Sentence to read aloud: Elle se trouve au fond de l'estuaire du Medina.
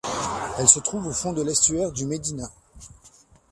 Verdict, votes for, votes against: accepted, 2, 0